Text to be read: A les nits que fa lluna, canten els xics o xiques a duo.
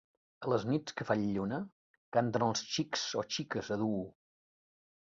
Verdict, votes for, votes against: rejected, 0, 2